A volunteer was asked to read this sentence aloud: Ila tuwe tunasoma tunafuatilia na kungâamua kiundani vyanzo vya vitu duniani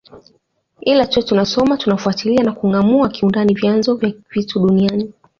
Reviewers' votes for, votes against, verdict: 2, 0, accepted